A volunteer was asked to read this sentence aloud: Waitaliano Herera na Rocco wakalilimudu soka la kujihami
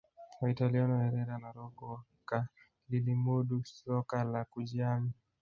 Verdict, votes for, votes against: rejected, 0, 2